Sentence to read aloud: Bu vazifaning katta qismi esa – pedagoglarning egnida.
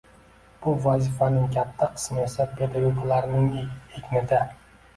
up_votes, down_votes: 2, 0